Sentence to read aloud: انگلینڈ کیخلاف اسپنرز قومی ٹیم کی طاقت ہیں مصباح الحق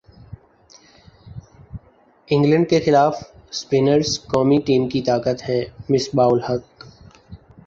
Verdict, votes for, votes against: rejected, 1, 2